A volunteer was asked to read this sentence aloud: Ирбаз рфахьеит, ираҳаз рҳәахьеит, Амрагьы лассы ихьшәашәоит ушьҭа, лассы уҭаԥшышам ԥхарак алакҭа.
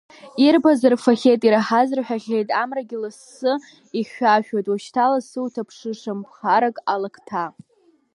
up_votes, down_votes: 0, 2